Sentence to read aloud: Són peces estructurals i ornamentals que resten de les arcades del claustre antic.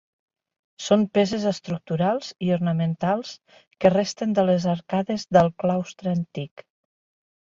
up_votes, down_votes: 4, 1